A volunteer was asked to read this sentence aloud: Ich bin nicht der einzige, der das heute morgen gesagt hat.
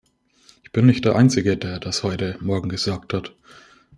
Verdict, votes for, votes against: accepted, 2, 0